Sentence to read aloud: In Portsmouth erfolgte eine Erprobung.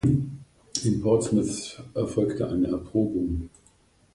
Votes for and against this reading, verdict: 1, 2, rejected